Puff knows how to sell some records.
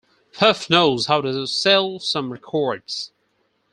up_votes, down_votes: 0, 4